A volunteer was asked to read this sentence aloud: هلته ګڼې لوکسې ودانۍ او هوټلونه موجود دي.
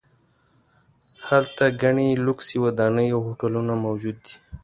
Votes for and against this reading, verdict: 2, 0, accepted